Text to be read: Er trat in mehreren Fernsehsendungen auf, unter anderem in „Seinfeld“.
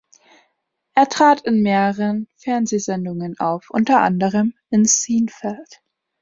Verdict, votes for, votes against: rejected, 0, 2